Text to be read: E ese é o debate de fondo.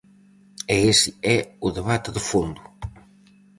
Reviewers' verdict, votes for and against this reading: rejected, 2, 2